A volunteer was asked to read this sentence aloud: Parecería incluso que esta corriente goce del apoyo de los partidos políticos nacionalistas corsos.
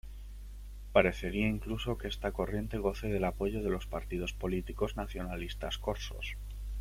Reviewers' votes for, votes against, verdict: 3, 0, accepted